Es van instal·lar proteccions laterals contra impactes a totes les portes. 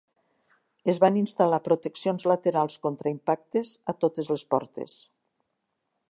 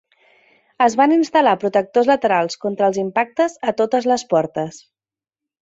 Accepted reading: first